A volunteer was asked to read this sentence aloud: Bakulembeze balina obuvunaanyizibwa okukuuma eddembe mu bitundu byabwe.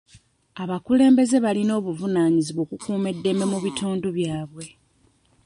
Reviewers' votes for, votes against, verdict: 1, 2, rejected